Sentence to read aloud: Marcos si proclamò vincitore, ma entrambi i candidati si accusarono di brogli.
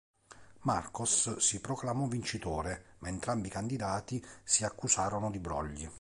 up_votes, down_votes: 2, 0